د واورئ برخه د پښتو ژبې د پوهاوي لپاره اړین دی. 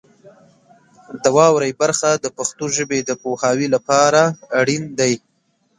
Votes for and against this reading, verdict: 2, 0, accepted